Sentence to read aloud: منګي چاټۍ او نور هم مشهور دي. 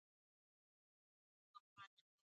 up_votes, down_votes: 0, 2